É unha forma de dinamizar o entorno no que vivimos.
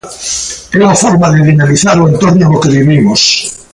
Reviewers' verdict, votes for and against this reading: accepted, 2, 0